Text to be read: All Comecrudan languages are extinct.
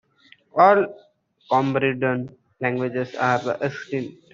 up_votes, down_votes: 0, 2